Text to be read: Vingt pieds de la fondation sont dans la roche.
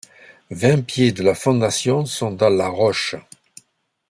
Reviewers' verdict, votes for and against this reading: accepted, 2, 0